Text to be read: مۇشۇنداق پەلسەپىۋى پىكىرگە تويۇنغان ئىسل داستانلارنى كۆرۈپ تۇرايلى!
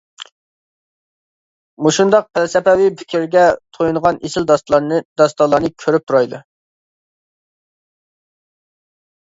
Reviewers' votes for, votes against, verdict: 0, 2, rejected